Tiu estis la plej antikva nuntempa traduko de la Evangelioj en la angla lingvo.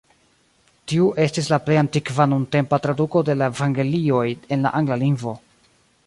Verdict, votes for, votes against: rejected, 1, 2